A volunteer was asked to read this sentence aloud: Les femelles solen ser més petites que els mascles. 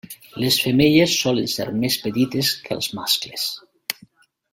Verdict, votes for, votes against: accepted, 3, 1